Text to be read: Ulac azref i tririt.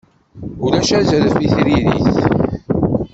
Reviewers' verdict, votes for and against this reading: rejected, 1, 2